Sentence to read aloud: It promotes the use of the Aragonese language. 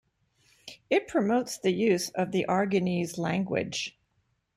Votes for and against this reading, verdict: 2, 0, accepted